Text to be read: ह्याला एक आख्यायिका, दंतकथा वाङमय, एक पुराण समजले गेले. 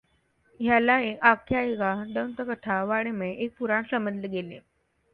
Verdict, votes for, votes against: accepted, 2, 0